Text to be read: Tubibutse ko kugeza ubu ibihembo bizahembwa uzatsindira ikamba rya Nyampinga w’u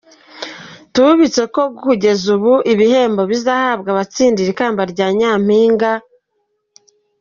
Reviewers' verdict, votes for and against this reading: accepted, 2, 1